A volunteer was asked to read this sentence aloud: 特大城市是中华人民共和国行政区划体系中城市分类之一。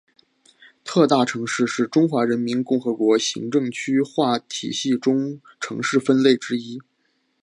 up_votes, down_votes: 5, 0